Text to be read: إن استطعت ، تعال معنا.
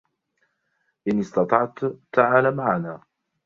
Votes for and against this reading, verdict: 0, 2, rejected